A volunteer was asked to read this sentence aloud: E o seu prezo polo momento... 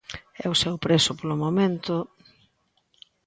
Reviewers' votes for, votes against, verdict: 2, 0, accepted